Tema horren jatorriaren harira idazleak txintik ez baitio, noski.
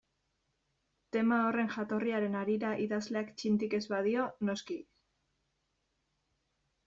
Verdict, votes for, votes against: rejected, 1, 2